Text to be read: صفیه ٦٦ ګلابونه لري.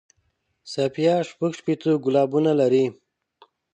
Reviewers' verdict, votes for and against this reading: rejected, 0, 2